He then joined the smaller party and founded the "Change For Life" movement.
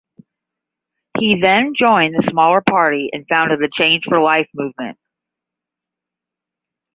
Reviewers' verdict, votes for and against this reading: rejected, 5, 5